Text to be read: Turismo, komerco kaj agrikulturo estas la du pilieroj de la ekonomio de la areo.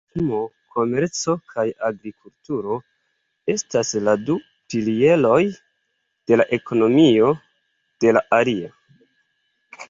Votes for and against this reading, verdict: 2, 0, accepted